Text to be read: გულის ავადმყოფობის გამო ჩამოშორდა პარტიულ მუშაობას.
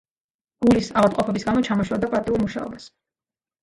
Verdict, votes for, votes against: accepted, 2, 0